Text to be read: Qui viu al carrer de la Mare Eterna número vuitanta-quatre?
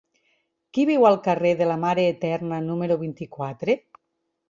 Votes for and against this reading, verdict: 0, 4, rejected